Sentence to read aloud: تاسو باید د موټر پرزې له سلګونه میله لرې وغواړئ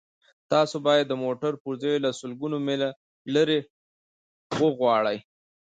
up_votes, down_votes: 2, 0